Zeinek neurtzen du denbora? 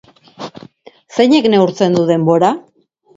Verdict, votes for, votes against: accepted, 2, 0